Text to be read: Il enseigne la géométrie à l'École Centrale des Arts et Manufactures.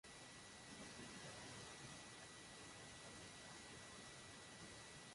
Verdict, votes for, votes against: rejected, 0, 2